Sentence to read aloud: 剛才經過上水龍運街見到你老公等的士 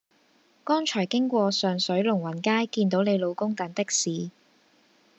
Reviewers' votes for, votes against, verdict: 2, 0, accepted